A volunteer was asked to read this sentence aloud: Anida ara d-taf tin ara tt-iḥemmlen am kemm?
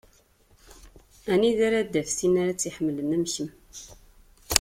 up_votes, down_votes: 2, 0